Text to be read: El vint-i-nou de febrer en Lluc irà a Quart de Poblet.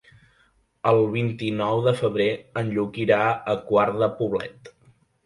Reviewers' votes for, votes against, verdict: 3, 0, accepted